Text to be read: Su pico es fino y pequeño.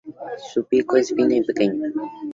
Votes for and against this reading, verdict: 2, 0, accepted